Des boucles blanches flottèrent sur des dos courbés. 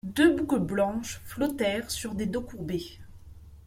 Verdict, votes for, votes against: rejected, 1, 2